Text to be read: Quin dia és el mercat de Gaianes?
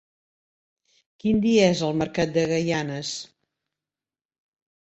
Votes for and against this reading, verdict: 3, 0, accepted